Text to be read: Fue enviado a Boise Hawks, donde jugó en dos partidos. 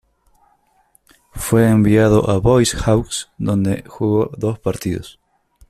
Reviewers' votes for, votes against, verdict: 0, 2, rejected